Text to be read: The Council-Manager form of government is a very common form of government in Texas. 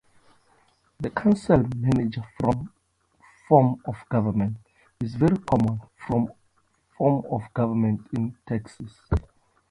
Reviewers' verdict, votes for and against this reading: rejected, 0, 2